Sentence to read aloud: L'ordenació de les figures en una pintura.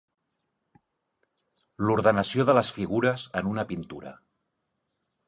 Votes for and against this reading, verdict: 5, 0, accepted